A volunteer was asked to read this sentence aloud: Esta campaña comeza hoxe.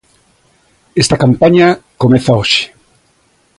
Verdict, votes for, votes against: accepted, 2, 0